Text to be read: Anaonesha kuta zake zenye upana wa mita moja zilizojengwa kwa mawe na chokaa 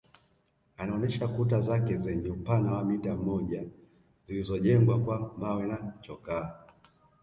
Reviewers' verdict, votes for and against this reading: rejected, 1, 2